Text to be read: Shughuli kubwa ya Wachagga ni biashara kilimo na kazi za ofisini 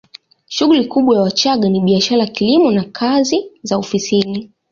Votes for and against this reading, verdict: 2, 1, accepted